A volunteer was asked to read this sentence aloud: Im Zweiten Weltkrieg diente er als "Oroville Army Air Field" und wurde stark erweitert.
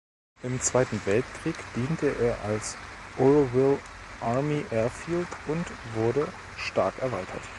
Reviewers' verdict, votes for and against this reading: accepted, 2, 0